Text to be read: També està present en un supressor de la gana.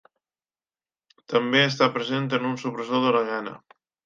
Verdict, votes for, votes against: accepted, 2, 0